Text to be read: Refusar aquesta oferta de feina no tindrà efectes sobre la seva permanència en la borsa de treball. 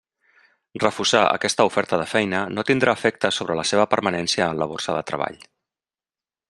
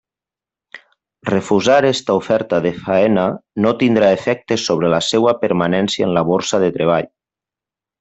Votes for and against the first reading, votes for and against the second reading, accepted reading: 3, 0, 1, 2, first